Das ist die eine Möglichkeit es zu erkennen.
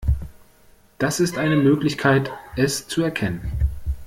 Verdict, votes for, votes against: rejected, 1, 3